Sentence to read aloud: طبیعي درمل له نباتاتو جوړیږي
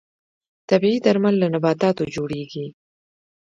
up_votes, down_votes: 2, 1